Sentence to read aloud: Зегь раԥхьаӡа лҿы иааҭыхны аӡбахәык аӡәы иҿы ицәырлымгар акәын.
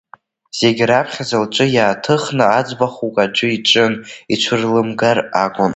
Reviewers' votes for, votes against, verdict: 2, 1, accepted